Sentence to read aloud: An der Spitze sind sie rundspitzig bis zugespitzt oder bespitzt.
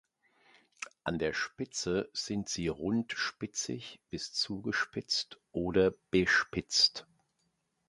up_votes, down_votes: 2, 0